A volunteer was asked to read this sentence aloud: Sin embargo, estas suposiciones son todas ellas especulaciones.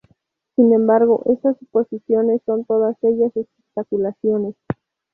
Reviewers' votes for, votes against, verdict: 0, 2, rejected